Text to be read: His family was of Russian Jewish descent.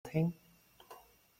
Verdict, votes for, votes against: rejected, 0, 2